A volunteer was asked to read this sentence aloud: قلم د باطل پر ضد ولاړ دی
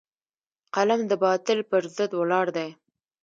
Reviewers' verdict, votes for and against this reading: accepted, 2, 0